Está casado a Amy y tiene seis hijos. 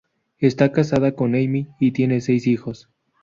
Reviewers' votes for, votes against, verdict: 4, 0, accepted